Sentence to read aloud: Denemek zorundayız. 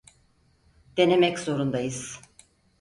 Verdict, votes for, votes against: accepted, 4, 0